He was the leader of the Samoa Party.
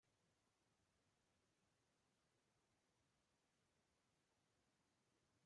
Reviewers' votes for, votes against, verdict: 0, 2, rejected